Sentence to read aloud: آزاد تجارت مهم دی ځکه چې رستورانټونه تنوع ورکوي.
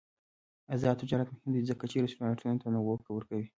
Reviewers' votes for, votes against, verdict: 3, 1, accepted